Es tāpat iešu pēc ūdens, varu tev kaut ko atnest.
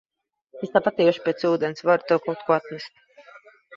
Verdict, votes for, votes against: accepted, 2, 0